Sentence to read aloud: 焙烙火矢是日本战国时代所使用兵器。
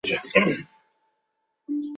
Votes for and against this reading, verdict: 0, 5, rejected